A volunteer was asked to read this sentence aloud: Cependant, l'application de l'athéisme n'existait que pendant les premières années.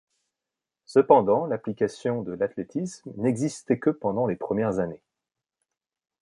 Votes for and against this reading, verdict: 0, 2, rejected